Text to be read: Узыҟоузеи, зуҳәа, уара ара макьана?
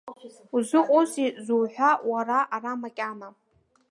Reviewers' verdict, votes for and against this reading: rejected, 0, 2